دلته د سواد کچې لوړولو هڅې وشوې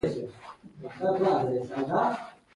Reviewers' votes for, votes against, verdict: 1, 2, rejected